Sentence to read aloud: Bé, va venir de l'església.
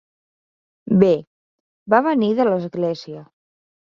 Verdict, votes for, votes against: accepted, 6, 0